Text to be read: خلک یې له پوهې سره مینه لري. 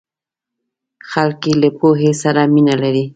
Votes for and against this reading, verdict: 2, 0, accepted